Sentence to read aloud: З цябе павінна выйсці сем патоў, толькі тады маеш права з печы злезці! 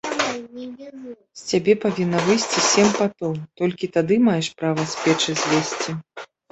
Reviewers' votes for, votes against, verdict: 0, 2, rejected